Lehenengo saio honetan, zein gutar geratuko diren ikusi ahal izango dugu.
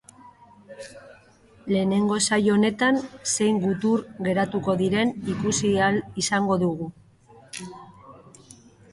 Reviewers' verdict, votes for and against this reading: rejected, 1, 2